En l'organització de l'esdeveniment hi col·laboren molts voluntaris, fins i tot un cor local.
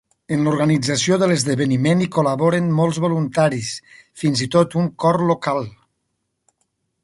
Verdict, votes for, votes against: accepted, 2, 1